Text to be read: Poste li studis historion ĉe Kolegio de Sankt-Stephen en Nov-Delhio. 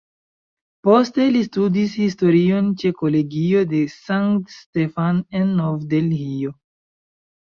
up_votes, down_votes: 1, 2